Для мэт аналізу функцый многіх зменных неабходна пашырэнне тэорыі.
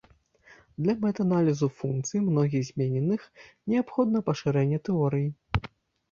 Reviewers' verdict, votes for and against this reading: rejected, 0, 2